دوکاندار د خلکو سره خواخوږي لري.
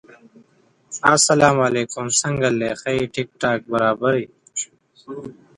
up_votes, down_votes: 0, 2